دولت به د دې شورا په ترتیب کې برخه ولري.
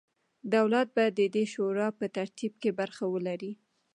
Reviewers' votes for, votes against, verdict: 2, 0, accepted